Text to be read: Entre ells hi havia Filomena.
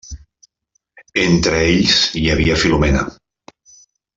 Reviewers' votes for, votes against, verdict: 3, 0, accepted